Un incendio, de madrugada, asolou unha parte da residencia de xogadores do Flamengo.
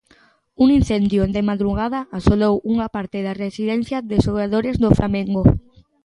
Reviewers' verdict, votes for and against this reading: accepted, 2, 0